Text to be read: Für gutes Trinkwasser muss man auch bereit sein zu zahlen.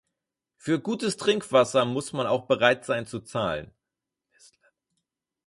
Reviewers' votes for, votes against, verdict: 0, 4, rejected